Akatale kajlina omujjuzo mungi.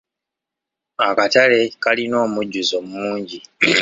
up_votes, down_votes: 0, 2